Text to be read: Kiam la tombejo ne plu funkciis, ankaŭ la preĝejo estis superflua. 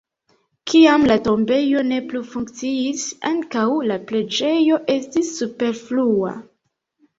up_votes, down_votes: 2, 0